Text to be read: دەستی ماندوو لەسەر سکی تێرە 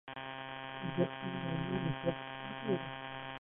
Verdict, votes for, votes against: rejected, 0, 2